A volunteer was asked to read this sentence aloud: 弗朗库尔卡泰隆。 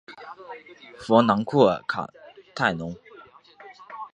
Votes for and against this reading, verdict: 4, 0, accepted